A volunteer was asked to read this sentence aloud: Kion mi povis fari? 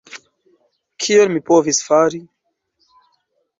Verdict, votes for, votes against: rejected, 1, 2